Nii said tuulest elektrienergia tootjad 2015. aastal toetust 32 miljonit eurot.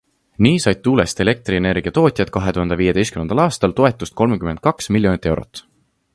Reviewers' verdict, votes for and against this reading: rejected, 0, 2